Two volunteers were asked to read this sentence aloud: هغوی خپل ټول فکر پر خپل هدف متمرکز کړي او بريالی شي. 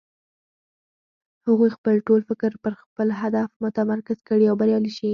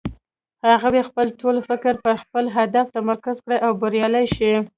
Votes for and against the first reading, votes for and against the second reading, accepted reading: 4, 2, 0, 2, first